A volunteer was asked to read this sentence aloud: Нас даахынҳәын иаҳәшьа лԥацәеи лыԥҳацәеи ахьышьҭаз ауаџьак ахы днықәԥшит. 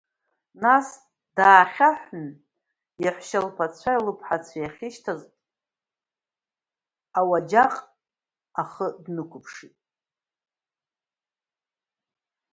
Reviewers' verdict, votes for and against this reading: rejected, 0, 2